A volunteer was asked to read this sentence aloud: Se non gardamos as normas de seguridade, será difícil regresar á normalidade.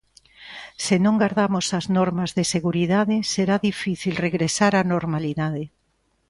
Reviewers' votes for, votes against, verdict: 2, 0, accepted